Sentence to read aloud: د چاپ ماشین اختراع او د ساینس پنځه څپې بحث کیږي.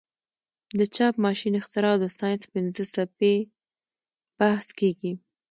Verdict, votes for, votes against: accepted, 2, 1